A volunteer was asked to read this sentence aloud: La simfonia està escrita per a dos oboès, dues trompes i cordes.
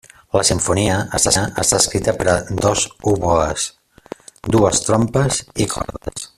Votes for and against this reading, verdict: 0, 2, rejected